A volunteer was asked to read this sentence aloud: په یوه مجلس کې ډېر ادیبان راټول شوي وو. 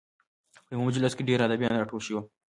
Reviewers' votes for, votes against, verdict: 2, 1, accepted